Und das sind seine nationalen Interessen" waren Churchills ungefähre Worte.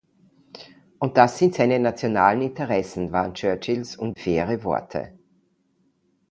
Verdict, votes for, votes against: rejected, 0, 2